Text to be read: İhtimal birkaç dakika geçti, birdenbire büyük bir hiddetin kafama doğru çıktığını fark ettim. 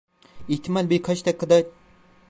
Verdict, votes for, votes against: rejected, 0, 2